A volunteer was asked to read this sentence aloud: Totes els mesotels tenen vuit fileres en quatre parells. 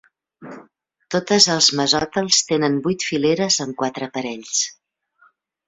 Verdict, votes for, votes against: rejected, 1, 2